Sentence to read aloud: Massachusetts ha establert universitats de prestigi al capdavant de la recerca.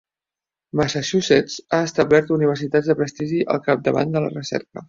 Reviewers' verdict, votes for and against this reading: accepted, 2, 0